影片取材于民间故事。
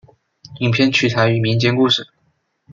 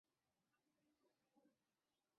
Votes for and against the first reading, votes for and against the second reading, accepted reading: 2, 0, 0, 2, first